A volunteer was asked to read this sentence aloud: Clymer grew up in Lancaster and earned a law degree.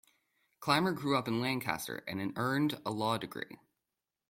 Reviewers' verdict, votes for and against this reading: rejected, 1, 2